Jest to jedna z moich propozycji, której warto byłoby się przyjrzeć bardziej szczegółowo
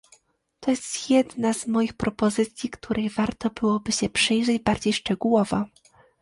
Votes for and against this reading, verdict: 0, 2, rejected